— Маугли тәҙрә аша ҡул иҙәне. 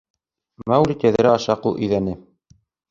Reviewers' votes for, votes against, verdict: 4, 1, accepted